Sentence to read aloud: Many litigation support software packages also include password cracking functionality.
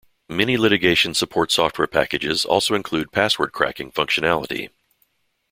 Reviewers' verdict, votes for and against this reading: accepted, 2, 0